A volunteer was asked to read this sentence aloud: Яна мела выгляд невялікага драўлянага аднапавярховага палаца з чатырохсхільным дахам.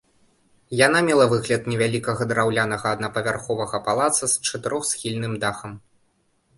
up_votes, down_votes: 2, 0